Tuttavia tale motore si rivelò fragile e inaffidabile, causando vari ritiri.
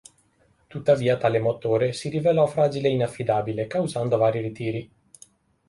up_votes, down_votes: 3, 0